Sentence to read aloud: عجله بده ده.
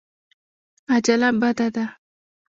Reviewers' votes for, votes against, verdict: 0, 2, rejected